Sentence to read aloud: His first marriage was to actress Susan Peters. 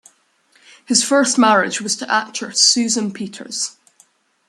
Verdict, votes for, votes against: accepted, 2, 0